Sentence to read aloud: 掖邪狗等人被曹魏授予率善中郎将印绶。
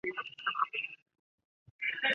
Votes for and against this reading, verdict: 0, 3, rejected